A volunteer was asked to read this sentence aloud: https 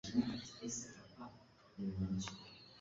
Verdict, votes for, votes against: rejected, 0, 2